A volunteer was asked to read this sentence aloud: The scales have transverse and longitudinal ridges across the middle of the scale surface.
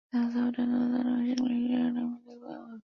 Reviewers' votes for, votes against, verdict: 0, 2, rejected